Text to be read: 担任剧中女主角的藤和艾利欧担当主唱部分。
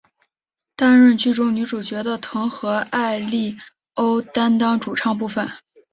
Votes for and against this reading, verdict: 7, 0, accepted